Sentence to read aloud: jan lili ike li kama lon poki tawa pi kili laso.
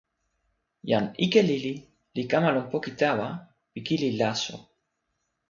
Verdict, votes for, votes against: rejected, 0, 2